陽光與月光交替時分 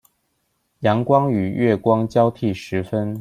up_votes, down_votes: 0, 2